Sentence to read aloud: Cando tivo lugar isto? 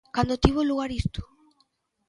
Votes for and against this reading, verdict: 2, 0, accepted